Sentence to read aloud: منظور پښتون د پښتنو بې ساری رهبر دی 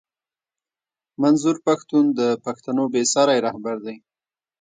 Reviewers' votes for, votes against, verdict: 1, 2, rejected